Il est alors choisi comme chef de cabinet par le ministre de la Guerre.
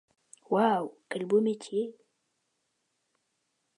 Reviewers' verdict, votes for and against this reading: rejected, 0, 2